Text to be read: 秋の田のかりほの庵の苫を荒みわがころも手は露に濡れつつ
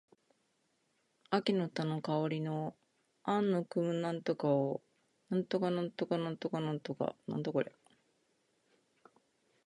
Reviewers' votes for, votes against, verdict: 0, 3, rejected